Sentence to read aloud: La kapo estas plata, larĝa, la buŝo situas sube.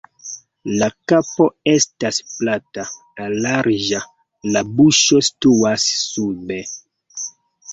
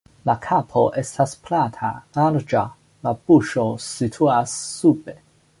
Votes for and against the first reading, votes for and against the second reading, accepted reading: 1, 2, 2, 0, second